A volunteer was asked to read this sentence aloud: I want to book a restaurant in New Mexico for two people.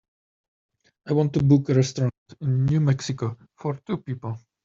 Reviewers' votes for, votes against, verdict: 1, 2, rejected